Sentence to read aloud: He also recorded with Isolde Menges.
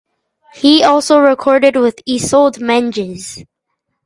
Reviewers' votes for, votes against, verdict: 2, 0, accepted